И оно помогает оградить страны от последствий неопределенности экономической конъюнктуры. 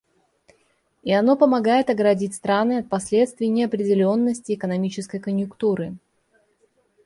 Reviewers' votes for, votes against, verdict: 2, 1, accepted